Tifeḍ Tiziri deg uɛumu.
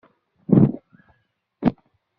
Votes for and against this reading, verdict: 0, 2, rejected